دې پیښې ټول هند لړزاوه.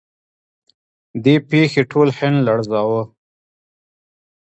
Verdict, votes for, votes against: rejected, 0, 2